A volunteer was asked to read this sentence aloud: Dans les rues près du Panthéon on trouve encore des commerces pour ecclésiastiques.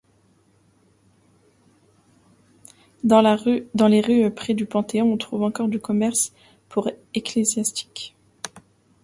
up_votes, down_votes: 0, 2